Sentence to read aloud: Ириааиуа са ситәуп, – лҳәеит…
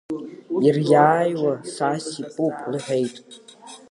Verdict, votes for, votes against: rejected, 0, 2